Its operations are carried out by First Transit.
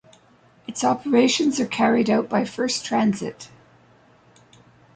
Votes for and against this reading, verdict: 2, 0, accepted